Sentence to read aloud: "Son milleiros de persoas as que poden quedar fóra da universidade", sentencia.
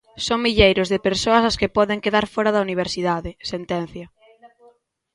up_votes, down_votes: 1, 2